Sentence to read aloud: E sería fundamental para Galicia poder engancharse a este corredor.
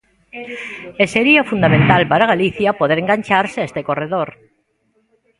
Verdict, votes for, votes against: accepted, 2, 0